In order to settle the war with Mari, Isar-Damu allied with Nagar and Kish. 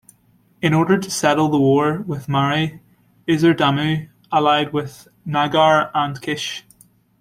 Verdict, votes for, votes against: accepted, 2, 1